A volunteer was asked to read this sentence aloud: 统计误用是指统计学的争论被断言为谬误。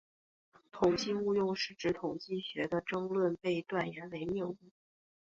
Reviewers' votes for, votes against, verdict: 7, 1, accepted